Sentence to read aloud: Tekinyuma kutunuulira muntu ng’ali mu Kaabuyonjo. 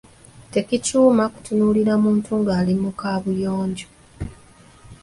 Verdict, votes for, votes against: rejected, 0, 2